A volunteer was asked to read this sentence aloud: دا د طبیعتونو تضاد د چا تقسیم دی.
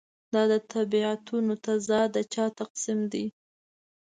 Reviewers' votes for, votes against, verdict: 3, 0, accepted